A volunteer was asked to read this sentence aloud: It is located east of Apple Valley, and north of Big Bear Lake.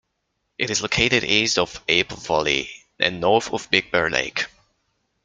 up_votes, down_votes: 1, 2